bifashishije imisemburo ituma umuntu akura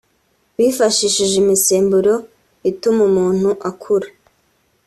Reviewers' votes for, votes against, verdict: 3, 0, accepted